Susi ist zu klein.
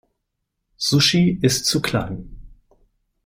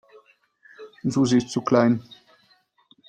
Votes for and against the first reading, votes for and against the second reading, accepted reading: 1, 5, 2, 1, second